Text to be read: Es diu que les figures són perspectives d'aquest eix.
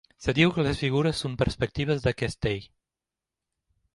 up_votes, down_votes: 1, 2